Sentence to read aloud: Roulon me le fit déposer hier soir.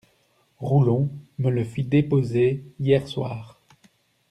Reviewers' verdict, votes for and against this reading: accepted, 2, 0